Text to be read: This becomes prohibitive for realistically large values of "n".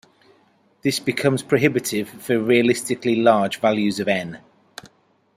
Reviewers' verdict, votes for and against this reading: accepted, 3, 0